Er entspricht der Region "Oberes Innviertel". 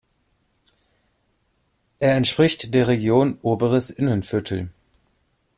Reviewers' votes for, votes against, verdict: 0, 2, rejected